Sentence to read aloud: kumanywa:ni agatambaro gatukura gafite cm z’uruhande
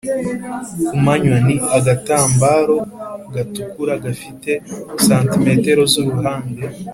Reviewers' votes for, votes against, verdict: 2, 0, accepted